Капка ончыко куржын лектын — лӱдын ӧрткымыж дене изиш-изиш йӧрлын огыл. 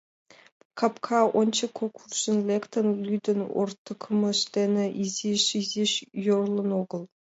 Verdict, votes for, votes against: rejected, 1, 2